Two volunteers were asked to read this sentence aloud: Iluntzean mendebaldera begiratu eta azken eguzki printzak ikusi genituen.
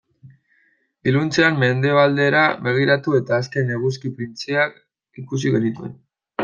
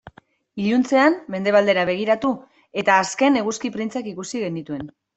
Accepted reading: second